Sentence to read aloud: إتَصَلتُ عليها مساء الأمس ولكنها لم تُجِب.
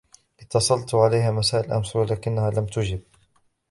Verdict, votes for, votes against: rejected, 0, 2